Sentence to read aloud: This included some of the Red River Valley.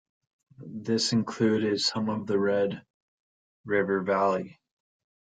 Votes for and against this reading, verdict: 2, 0, accepted